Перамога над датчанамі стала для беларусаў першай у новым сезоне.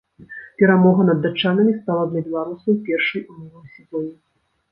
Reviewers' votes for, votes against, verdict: 1, 2, rejected